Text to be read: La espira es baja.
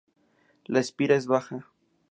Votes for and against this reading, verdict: 4, 0, accepted